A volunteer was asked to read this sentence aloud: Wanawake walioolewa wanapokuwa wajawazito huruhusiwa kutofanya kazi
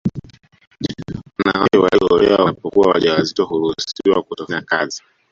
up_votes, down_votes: 0, 2